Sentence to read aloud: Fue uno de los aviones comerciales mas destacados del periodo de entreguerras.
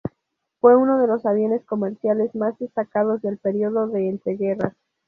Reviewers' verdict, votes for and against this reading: rejected, 0, 2